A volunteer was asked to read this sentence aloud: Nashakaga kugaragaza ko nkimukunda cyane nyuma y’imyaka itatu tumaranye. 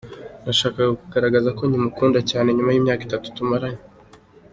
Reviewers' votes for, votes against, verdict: 3, 1, accepted